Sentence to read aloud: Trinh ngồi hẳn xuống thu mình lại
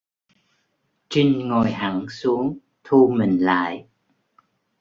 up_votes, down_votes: 2, 0